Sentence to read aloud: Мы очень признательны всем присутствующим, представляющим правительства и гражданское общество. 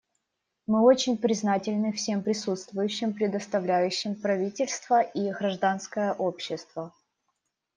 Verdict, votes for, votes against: rejected, 0, 2